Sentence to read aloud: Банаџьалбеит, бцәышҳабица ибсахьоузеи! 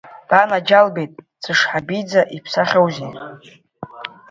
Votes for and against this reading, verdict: 2, 0, accepted